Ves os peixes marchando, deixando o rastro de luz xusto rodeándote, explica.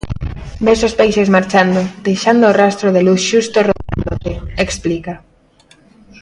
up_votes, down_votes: 0, 2